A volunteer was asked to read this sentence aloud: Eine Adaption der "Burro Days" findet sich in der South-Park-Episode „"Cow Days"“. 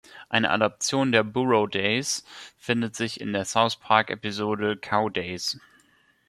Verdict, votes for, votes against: accepted, 2, 0